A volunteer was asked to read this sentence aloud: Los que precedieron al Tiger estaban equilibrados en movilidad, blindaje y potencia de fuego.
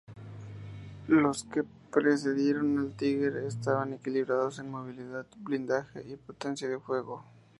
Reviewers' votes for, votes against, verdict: 4, 0, accepted